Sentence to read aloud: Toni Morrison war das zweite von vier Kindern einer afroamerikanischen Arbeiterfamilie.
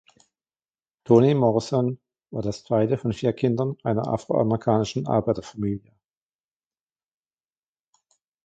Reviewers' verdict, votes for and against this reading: rejected, 1, 2